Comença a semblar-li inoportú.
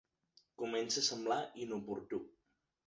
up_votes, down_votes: 0, 2